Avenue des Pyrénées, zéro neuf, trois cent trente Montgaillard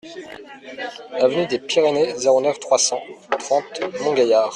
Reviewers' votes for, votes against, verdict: 2, 1, accepted